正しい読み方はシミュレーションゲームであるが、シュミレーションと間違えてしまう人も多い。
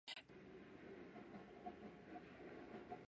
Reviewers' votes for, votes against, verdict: 0, 2, rejected